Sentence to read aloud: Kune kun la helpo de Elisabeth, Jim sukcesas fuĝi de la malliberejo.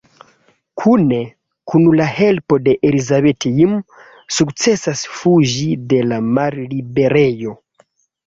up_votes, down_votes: 2, 0